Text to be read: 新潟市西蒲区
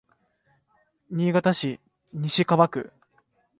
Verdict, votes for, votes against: accepted, 2, 0